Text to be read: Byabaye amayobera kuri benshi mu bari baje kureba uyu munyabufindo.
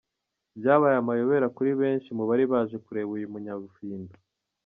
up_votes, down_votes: 2, 3